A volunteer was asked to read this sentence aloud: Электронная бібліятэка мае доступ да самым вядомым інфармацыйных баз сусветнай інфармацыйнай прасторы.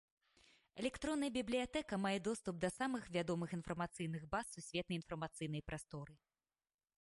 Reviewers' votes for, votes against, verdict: 1, 2, rejected